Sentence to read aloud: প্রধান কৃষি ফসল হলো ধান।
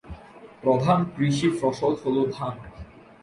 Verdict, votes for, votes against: accepted, 2, 0